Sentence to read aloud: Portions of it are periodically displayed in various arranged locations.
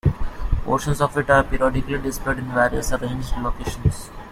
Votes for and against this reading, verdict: 0, 2, rejected